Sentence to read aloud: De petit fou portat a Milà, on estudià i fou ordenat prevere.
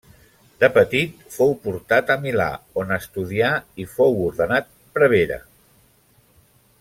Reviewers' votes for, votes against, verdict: 2, 0, accepted